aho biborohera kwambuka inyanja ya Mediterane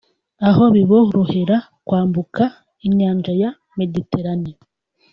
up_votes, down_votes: 2, 1